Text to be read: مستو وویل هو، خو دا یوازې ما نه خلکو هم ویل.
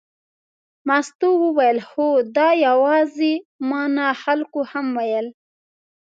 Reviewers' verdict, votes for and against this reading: rejected, 1, 2